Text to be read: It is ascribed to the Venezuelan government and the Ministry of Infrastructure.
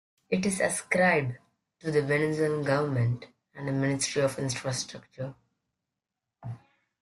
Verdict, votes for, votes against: rejected, 0, 2